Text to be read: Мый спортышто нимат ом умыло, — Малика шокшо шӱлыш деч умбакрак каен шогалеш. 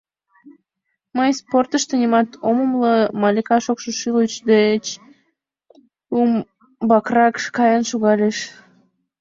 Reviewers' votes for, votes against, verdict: 2, 0, accepted